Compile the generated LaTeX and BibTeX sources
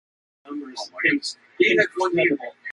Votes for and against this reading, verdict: 0, 2, rejected